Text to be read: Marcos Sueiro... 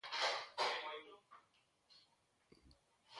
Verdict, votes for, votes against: rejected, 0, 2